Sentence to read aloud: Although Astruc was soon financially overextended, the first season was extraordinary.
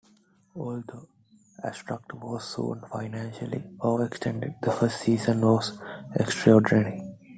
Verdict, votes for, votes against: accepted, 2, 0